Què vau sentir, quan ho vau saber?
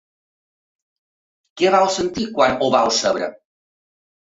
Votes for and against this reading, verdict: 2, 1, accepted